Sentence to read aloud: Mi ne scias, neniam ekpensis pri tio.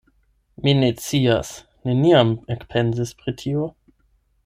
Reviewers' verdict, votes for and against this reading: rejected, 0, 8